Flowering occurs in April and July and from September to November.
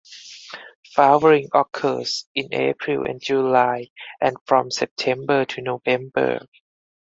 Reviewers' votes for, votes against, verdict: 4, 0, accepted